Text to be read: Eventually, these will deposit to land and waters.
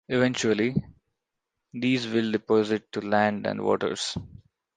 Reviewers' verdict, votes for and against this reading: accepted, 2, 0